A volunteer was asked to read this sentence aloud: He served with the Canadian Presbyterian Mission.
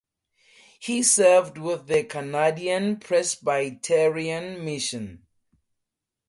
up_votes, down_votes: 4, 0